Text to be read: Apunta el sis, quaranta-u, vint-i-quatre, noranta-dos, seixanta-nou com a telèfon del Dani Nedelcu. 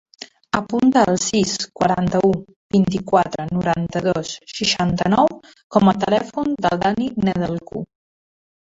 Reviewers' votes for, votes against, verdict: 0, 2, rejected